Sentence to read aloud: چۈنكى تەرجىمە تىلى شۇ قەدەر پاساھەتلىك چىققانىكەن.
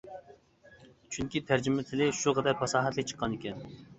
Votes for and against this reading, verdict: 2, 0, accepted